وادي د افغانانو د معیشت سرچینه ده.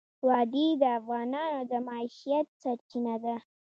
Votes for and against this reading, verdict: 2, 0, accepted